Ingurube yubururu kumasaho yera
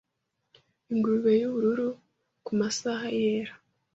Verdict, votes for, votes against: rejected, 1, 2